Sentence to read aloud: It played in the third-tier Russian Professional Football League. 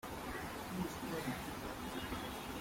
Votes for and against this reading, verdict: 0, 3, rejected